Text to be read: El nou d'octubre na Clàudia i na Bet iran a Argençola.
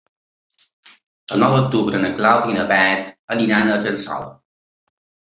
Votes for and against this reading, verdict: 1, 2, rejected